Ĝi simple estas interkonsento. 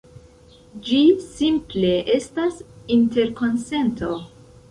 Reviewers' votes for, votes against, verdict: 2, 0, accepted